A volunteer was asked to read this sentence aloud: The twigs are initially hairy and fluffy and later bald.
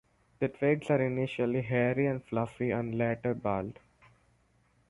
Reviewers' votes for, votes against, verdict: 2, 2, rejected